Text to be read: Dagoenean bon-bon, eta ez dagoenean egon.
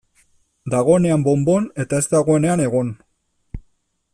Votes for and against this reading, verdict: 2, 0, accepted